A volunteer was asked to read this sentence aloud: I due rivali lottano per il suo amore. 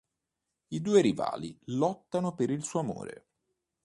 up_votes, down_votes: 2, 0